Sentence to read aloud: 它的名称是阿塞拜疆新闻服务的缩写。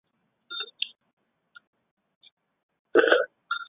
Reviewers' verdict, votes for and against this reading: rejected, 0, 3